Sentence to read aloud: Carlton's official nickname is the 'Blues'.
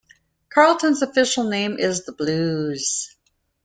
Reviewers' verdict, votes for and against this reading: rejected, 0, 2